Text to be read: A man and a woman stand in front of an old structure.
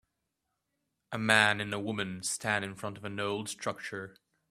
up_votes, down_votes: 2, 1